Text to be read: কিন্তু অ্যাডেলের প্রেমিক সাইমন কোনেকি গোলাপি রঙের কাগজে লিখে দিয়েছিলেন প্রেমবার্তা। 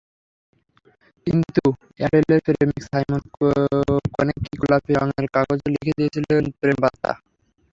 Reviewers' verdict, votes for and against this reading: rejected, 0, 3